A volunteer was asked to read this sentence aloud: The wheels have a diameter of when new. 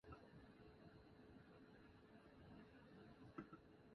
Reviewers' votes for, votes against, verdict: 0, 2, rejected